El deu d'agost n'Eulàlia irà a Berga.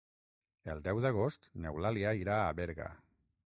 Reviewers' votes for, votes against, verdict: 6, 0, accepted